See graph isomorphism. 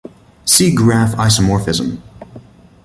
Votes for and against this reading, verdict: 2, 1, accepted